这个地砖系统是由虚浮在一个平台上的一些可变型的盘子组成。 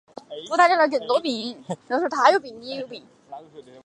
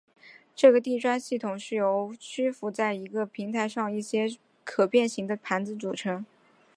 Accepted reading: second